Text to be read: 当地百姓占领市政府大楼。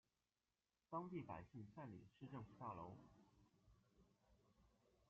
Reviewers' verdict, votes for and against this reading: rejected, 1, 2